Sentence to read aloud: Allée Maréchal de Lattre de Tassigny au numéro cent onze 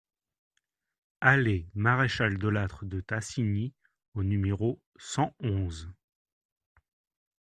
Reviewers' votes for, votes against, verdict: 2, 0, accepted